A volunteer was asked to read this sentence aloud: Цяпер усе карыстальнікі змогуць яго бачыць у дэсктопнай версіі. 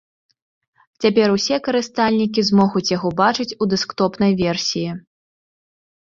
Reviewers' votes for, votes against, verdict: 2, 1, accepted